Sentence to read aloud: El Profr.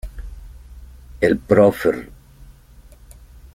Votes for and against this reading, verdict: 1, 2, rejected